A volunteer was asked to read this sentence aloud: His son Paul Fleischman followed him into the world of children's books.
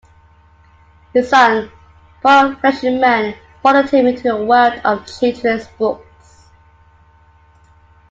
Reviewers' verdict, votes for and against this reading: accepted, 2, 1